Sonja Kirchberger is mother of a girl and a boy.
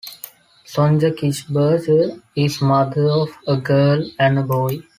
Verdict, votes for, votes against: rejected, 1, 2